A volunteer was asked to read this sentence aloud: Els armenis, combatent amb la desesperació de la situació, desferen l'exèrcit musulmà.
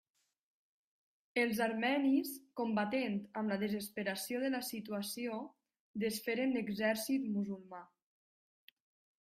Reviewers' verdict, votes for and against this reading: rejected, 1, 2